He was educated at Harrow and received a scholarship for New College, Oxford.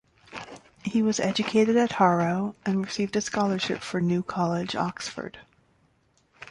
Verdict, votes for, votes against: accepted, 2, 0